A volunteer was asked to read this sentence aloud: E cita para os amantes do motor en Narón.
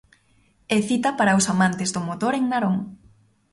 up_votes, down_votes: 2, 0